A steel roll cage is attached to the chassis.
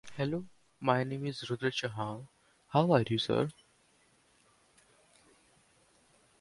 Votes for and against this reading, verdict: 0, 2, rejected